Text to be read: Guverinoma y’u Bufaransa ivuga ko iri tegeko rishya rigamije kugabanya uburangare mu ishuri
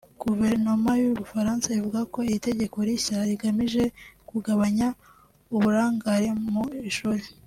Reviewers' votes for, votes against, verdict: 2, 0, accepted